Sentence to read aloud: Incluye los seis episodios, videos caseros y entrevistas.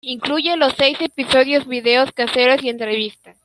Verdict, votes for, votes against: rejected, 0, 3